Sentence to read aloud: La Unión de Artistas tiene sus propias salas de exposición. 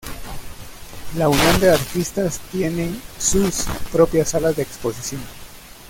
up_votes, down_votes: 0, 2